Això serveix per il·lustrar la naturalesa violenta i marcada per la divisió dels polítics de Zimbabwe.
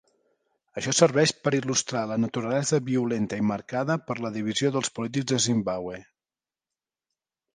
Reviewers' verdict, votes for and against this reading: accepted, 2, 0